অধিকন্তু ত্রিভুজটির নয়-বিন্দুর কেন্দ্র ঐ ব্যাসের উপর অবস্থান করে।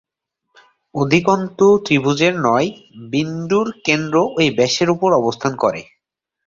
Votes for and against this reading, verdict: 1, 2, rejected